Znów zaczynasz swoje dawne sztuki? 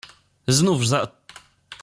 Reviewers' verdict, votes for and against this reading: rejected, 0, 2